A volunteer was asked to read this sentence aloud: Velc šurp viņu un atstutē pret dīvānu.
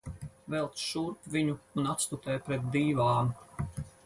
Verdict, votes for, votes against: rejected, 2, 4